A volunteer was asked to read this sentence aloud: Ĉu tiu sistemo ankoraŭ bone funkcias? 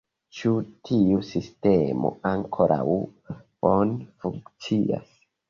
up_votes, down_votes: 0, 2